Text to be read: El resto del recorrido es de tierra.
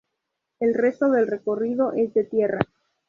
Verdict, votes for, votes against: accepted, 2, 0